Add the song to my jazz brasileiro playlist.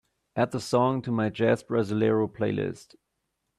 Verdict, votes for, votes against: accepted, 2, 0